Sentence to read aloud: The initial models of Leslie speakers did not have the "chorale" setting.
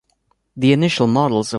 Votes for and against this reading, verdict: 0, 2, rejected